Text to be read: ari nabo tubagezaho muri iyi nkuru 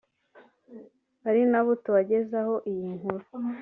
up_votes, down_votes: 1, 2